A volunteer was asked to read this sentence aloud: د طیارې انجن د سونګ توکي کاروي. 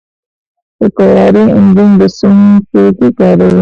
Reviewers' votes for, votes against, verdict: 2, 1, accepted